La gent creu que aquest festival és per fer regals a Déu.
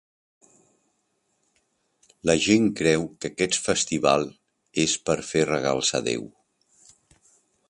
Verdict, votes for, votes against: rejected, 1, 2